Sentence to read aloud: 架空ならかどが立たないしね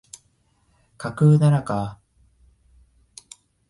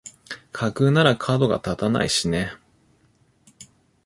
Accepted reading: second